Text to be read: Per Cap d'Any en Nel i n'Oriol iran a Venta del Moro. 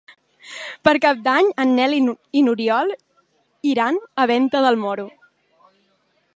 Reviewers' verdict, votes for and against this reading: rejected, 1, 2